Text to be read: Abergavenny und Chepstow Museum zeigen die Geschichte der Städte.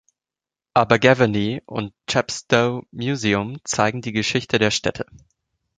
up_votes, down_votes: 2, 0